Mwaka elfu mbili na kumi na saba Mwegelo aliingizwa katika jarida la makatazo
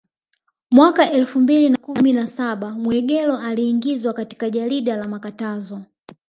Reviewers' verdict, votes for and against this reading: rejected, 1, 2